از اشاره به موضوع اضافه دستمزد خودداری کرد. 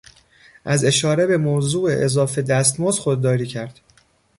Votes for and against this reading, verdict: 2, 0, accepted